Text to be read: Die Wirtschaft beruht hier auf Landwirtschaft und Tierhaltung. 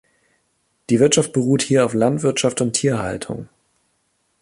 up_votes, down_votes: 3, 0